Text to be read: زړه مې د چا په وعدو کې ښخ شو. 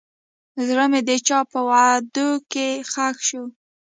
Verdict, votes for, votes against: rejected, 1, 2